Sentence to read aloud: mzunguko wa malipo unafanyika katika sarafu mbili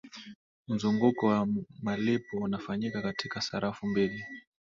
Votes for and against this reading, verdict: 6, 2, accepted